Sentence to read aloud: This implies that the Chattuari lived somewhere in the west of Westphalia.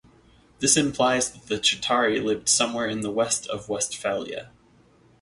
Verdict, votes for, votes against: rejected, 0, 2